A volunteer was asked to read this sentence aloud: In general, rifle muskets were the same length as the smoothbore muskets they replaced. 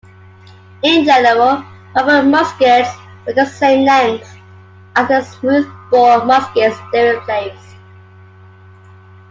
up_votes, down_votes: 1, 2